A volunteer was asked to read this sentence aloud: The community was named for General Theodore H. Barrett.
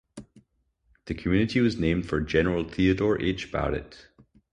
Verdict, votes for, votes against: accepted, 4, 0